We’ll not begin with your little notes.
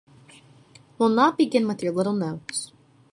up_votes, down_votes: 2, 0